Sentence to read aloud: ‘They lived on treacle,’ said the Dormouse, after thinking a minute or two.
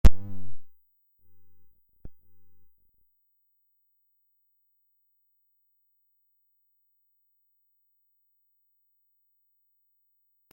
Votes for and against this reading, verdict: 0, 2, rejected